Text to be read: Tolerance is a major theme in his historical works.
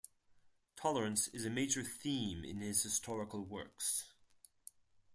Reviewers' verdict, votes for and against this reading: accepted, 4, 0